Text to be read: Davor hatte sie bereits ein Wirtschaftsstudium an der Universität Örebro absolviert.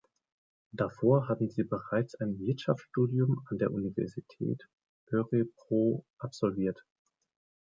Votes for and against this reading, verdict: 0, 2, rejected